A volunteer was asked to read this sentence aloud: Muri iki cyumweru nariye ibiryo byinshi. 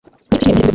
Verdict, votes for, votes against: rejected, 1, 2